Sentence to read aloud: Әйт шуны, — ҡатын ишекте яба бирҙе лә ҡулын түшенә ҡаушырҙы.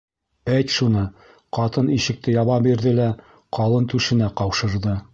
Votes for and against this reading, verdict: 1, 2, rejected